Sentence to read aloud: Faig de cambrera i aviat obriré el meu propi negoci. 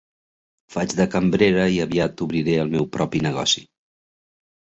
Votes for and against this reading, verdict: 3, 0, accepted